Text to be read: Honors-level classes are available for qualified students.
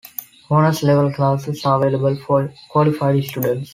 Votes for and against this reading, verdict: 2, 0, accepted